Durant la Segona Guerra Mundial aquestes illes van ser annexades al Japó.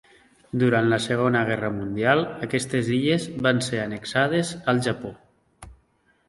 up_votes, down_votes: 2, 0